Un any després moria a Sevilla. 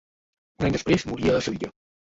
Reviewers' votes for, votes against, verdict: 0, 2, rejected